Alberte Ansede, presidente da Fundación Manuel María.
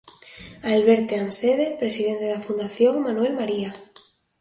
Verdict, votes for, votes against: accepted, 2, 1